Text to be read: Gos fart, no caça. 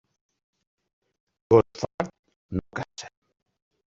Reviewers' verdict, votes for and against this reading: rejected, 0, 2